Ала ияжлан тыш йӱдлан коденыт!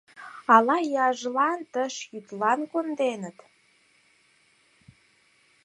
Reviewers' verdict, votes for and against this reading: rejected, 0, 4